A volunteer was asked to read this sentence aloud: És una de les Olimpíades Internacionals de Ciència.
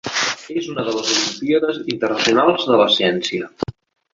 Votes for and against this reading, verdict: 0, 2, rejected